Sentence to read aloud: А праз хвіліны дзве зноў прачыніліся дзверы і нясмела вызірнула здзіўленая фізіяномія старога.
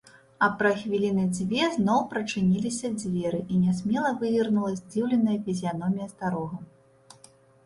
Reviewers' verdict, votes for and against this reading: rejected, 0, 2